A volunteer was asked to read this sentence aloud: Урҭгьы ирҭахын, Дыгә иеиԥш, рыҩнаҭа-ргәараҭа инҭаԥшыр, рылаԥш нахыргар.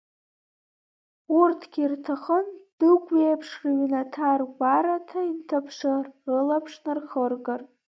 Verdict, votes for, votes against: accepted, 2, 0